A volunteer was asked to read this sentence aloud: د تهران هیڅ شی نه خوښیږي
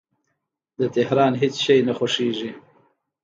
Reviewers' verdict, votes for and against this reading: accepted, 2, 1